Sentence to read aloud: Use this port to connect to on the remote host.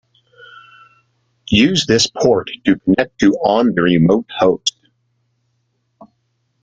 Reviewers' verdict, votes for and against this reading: rejected, 0, 2